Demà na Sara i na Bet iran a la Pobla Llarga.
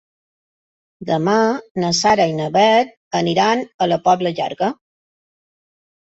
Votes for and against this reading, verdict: 1, 3, rejected